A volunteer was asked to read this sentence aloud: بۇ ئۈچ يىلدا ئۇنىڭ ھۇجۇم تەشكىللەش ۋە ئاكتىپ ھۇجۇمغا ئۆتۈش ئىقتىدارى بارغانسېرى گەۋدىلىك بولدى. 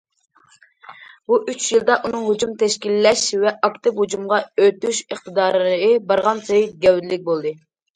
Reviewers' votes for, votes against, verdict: 2, 0, accepted